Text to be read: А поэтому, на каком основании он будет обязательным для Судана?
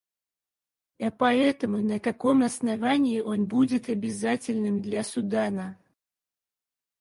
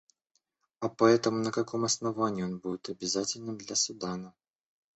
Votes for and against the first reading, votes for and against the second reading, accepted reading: 2, 0, 1, 2, first